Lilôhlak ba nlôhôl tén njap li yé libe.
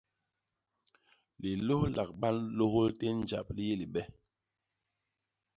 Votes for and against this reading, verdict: 2, 0, accepted